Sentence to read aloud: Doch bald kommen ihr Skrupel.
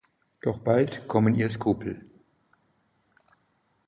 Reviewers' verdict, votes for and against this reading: accepted, 2, 0